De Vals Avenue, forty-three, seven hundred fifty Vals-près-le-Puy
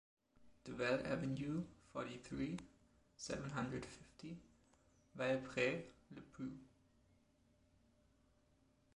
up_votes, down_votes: 1, 2